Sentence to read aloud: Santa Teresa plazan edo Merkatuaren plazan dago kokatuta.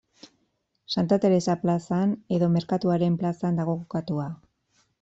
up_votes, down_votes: 2, 1